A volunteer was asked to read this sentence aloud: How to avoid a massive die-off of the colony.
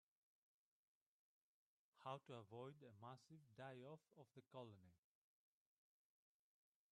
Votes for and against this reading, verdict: 2, 4, rejected